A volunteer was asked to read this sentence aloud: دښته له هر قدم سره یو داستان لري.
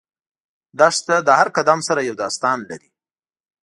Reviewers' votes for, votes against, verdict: 2, 0, accepted